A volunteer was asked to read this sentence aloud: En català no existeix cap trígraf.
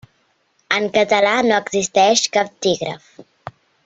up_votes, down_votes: 1, 2